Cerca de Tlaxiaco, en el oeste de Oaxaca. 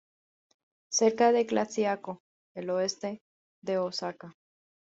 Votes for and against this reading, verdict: 2, 0, accepted